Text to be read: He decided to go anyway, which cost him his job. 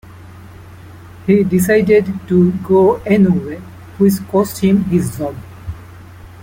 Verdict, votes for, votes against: rejected, 0, 3